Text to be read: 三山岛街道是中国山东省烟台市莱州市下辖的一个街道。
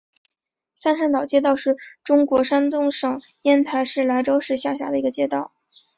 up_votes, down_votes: 1, 2